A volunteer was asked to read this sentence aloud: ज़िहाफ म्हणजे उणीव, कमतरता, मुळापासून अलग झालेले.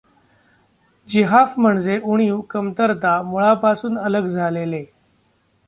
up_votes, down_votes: 2, 0